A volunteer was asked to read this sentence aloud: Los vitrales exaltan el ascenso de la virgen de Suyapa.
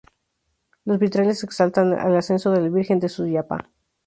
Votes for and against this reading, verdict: 0, 2, rejected